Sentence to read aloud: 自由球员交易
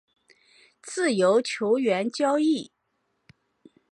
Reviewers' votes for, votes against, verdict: 4, 0, accepted